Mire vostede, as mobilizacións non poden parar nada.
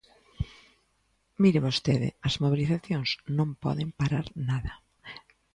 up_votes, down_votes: 2, 0